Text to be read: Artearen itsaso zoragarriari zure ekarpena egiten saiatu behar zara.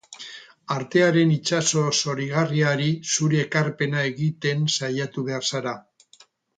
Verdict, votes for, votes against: rejected, 0, 4